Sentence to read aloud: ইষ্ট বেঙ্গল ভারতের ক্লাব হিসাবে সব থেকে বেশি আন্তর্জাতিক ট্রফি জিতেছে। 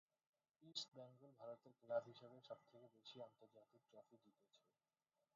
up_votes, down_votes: 0, 6